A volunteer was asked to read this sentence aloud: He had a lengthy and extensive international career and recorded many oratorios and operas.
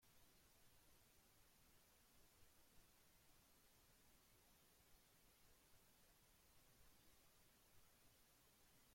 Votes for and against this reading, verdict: 0, 2, rejected